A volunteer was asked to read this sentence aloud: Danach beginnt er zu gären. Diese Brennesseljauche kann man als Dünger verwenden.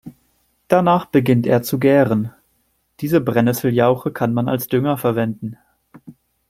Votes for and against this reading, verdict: 2, 0, accepted